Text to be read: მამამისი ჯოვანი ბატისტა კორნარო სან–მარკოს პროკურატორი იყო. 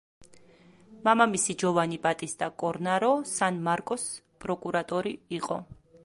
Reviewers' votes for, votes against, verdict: 2, 0, accepted